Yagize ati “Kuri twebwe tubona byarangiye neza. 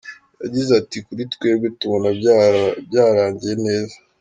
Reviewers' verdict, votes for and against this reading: rejected, 1, 2